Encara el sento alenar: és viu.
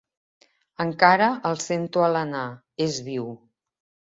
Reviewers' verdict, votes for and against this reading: accepted, 2, 0